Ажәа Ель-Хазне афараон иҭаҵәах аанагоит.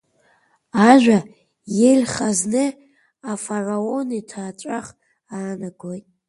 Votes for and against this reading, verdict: 0, 2, rejected